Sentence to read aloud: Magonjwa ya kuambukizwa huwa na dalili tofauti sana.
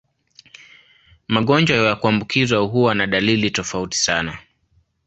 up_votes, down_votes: 2, 1